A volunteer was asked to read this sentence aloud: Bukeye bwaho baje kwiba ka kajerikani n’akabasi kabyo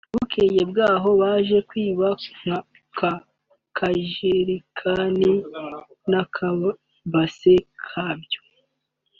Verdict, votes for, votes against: accepted, 2, 0